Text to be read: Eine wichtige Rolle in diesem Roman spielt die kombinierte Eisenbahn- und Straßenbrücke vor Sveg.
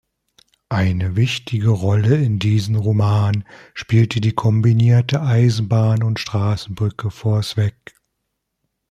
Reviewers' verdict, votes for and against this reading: rejected, 0, 2